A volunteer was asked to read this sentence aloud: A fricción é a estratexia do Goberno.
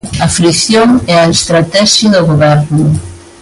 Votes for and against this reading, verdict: 2, 0, accepted